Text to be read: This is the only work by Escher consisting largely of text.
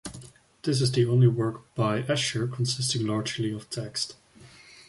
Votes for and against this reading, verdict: 2, 0, accepted